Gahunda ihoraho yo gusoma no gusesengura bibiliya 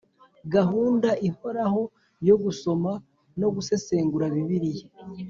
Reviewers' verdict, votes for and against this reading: accepted, 2, 0